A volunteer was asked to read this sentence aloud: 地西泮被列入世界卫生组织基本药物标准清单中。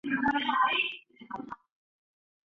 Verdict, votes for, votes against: rejected, 2, 3